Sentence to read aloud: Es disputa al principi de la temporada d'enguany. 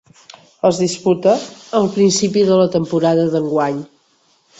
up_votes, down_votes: 3, 0